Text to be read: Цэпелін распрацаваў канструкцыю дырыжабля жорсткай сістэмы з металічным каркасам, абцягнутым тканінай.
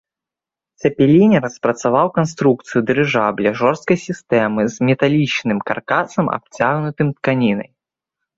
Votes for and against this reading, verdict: 1, 2, rejected